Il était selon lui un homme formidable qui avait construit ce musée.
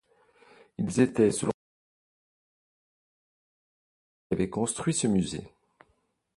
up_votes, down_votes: 1, 2